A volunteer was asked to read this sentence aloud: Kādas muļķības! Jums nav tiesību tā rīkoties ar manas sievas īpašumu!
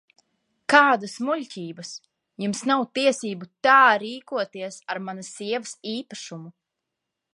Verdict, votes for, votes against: accepted, 2, 1